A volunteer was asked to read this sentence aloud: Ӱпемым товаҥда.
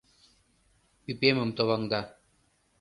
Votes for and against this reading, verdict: 2, 0, accepted